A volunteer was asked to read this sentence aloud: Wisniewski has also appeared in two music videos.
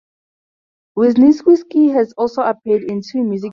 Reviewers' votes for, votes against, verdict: 0, 2, rejected